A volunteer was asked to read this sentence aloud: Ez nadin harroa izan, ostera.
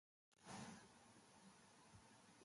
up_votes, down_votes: 0, 5